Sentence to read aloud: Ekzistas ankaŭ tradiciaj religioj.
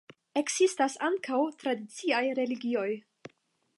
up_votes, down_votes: 5, 0